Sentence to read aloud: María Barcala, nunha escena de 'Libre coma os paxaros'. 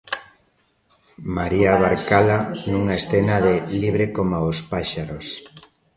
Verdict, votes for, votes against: rejected, 0, 2